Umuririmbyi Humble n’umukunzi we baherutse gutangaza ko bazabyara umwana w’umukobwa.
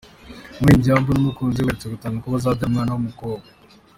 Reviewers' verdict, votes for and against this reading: accepted, 2, 0